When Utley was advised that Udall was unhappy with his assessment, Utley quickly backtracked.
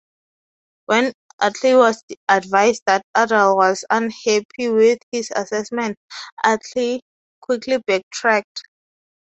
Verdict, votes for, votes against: accepted, 4, 0